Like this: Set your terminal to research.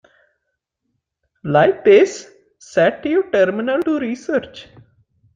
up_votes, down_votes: 2, 1